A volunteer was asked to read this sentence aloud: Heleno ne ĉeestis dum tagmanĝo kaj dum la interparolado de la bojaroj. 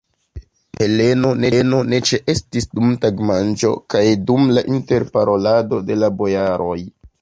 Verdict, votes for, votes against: rejected, 1, 2